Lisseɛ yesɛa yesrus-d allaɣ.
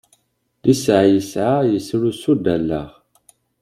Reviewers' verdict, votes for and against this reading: accepted, 2, 0